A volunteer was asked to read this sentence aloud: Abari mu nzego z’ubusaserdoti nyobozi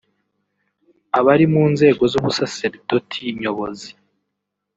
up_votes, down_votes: 3, 0